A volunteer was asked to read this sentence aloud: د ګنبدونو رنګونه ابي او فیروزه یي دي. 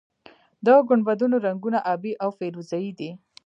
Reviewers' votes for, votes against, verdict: 2, 0, accepted